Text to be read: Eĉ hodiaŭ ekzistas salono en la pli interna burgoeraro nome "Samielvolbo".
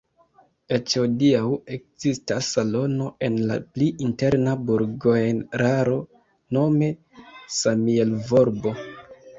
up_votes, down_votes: 1, 2